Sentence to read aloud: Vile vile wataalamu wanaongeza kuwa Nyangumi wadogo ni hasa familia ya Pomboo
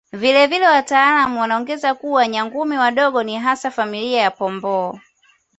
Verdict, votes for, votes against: accepted, 2, 0